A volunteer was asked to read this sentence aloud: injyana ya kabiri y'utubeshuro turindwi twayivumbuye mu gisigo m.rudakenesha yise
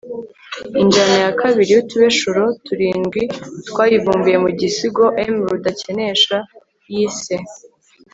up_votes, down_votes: 2, 0